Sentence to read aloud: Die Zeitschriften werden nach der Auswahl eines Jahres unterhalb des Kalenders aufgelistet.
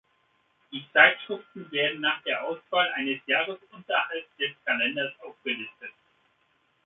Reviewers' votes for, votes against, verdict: 2, 1, accepted